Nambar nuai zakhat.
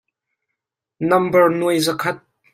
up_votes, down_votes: 2, 0